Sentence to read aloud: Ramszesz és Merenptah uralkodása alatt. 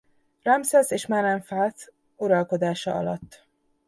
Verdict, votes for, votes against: rejected, 0, 2